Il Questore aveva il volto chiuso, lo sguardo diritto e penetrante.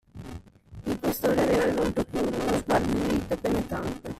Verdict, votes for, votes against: rejected, 0, 2